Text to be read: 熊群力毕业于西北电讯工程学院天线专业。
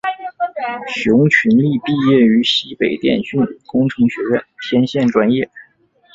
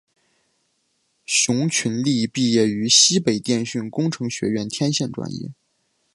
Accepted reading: second